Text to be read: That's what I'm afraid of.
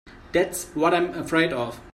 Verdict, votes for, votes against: rejected, 1, 2